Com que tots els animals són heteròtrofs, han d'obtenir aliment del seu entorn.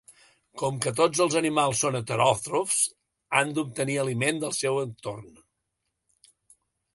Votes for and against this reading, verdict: 2, 0, accepted